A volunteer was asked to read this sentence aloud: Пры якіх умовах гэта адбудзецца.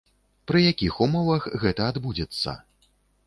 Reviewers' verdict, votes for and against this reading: accepted, 2, 0